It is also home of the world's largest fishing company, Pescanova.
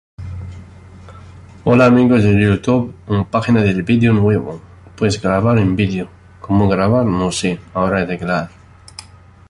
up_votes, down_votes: 0, 2